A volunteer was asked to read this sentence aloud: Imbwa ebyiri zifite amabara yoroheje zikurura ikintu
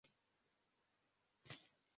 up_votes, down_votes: 0, 2